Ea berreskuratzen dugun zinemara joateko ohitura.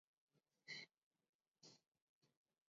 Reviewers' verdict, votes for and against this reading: rejected, 0, 4